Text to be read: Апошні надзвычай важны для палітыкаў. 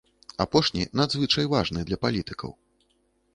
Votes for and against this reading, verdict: 2, 0, accepted